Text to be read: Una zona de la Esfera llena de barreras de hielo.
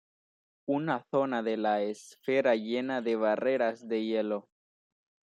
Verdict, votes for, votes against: rejected, 1, 2